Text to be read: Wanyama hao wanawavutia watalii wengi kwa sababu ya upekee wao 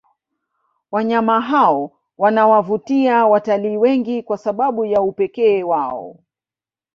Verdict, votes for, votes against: accepted, 2, 0